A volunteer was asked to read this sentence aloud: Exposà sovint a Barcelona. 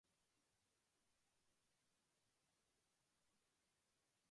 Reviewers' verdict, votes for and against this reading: rejected, 0, 2